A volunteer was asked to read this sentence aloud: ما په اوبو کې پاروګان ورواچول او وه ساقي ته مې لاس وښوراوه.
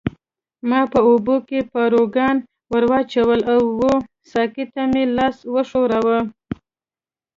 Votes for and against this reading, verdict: 2, 0, accepted